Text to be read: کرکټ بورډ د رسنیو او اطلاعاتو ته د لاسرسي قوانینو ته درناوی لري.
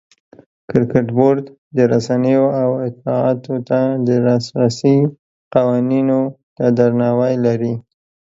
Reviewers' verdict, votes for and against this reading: accepted, 4, 0